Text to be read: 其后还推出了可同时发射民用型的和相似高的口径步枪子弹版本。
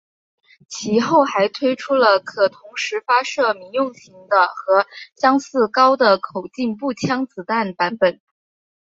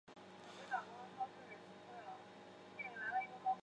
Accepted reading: first